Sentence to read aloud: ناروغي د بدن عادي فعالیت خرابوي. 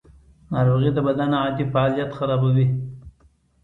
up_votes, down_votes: 2, 1